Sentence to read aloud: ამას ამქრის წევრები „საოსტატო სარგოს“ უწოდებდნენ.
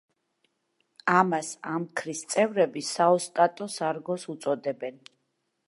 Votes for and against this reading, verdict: 1, 2, rejected